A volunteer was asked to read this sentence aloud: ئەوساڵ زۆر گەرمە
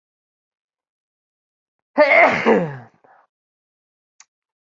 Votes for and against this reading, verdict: 0, 2, rejected